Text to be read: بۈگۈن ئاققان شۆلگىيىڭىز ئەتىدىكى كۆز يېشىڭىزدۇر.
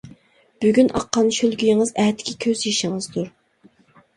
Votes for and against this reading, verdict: 0, 2, rejected